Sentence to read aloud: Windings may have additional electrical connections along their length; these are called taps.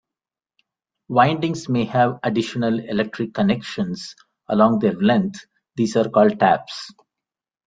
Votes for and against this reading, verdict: 2, 1, accepted